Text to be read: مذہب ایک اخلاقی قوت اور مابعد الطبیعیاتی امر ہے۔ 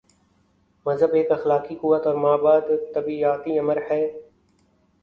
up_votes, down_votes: 11, 1